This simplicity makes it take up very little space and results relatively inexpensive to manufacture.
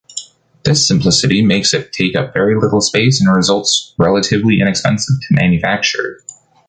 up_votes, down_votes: 2, 0